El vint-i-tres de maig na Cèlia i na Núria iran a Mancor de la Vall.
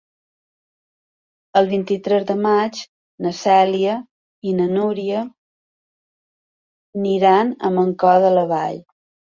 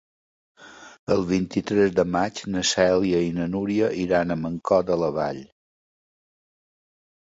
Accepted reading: second